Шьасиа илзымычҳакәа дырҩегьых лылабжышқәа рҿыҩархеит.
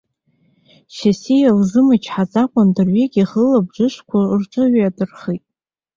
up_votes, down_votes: 1, 2